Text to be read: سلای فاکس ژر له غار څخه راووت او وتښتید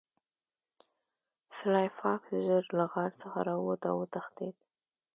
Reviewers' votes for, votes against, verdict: 2, 0, accepted